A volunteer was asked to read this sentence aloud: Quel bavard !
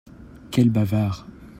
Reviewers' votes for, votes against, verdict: 2, 0, accepted